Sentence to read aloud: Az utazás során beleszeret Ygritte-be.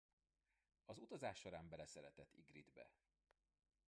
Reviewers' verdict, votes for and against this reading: accepted, 2, 1